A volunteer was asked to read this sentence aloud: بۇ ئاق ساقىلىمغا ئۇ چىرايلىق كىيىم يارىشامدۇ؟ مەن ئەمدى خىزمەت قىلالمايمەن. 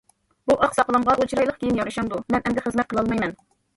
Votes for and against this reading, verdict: 2, 0, accepted